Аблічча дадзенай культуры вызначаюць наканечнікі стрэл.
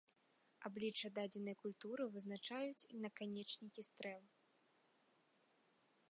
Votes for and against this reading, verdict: 3, 1, accepted